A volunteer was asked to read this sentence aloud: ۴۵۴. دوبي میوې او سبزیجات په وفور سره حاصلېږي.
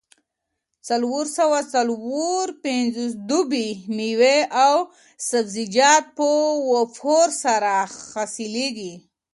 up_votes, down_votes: 0, 2